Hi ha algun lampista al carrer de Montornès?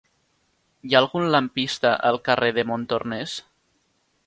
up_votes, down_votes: 4, 0